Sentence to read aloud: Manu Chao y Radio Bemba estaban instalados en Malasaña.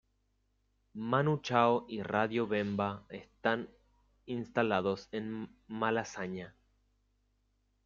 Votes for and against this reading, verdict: 1, 2, rejected